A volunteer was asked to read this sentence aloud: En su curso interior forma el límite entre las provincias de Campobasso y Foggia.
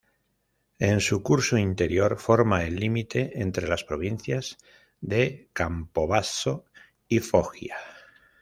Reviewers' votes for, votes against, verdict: 1, 2, rejected